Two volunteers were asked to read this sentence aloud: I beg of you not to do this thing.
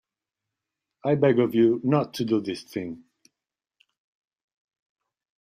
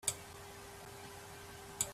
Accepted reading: first